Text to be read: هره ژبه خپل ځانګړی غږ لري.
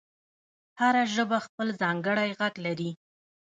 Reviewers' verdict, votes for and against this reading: accepted, 2, 0